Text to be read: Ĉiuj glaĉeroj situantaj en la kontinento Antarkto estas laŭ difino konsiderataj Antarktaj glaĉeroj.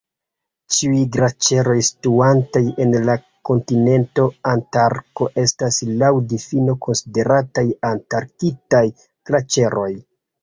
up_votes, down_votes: 1, 2